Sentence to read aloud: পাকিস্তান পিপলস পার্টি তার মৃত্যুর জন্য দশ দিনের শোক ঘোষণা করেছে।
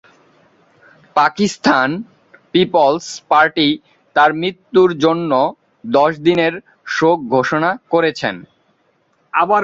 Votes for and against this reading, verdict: 0, 2, rejected